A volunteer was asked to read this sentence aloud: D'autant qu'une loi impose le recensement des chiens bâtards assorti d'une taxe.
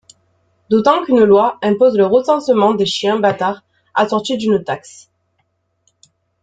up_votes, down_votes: 2, 1